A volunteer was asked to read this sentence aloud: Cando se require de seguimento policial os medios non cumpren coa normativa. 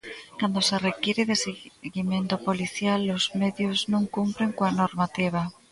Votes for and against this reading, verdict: 1, 2, rejected